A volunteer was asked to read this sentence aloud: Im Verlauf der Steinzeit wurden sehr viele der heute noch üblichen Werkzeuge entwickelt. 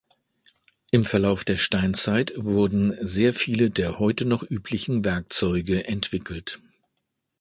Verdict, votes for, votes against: accepted, 2, 0